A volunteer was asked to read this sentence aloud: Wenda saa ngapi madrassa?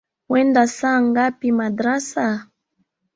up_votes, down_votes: 1, 2